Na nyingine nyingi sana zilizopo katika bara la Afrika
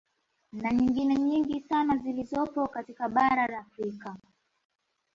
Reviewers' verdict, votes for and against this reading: accepted, 2, 0